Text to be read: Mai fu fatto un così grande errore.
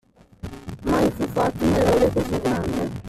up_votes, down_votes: 0, 2